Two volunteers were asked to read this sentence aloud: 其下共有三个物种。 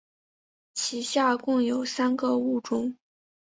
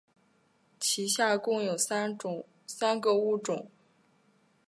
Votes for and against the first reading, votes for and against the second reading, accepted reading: 4, 0, 1, 2, first